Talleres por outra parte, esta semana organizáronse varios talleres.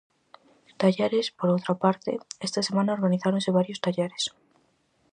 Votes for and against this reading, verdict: 4, 0, accepted